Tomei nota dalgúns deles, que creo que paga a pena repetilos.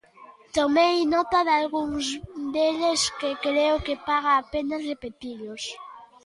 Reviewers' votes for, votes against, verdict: 1, 2, rejected